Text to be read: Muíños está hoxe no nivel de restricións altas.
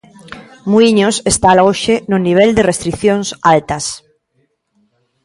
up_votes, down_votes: 1, 2